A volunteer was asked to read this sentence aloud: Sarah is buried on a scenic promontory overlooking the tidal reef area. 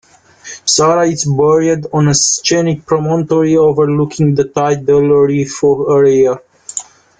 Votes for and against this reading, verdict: 1, 2, rejected